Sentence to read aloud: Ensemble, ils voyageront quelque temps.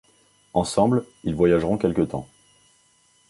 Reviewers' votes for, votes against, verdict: 2, 0, accepted